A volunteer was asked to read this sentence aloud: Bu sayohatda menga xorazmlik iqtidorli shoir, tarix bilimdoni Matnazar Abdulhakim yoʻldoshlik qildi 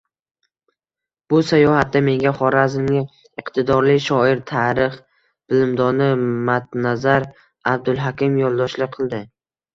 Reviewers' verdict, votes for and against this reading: accepted, 2, 0